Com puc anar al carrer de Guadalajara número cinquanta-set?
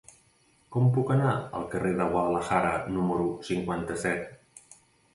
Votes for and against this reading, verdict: 1, 2, rejected